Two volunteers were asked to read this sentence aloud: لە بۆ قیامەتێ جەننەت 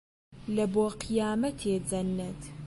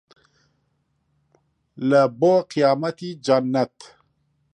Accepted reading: first